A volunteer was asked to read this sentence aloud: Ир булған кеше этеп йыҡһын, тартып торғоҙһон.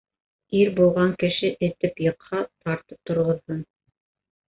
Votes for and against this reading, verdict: 0, 2, rejected